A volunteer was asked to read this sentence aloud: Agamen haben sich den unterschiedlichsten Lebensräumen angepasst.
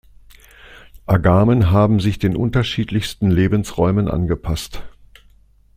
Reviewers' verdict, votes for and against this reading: accepted, 2, 0